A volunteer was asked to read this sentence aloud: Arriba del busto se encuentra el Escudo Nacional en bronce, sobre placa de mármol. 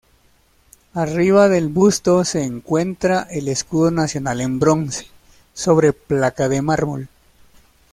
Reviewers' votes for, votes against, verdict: 2, 1, accepted